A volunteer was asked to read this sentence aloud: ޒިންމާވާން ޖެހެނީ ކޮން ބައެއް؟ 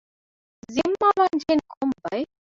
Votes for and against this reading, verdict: 0, 2, rejected